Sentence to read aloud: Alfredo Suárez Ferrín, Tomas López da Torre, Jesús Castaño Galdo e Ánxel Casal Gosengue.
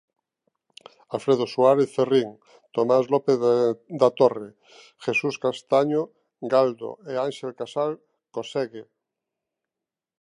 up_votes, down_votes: 0, 3